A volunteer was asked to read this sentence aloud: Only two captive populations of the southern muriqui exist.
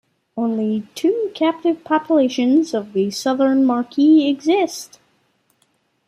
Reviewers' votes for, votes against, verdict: 2, 0, accepted